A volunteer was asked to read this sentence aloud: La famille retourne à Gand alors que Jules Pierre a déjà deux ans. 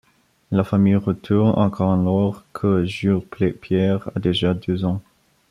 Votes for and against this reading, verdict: 1, 2, rejected